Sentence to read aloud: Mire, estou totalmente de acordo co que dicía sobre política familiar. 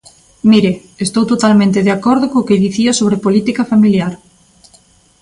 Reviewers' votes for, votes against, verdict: 2, 0, accepted